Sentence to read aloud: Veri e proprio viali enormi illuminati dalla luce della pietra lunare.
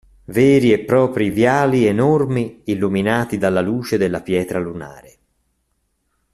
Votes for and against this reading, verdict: 2, 1, accepted